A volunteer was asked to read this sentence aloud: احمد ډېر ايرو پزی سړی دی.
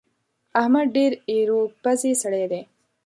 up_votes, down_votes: 2, 0